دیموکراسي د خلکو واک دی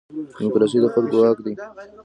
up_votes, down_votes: 1, 2